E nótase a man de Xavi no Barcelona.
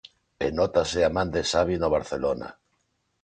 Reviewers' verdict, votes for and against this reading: accepted, 3, 0